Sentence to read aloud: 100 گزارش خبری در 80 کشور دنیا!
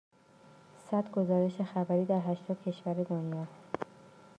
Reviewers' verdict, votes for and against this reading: rejected, 0, 2